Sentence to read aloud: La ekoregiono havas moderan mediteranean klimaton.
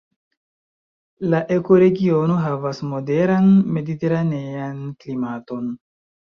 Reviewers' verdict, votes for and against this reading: rejected, 0, 2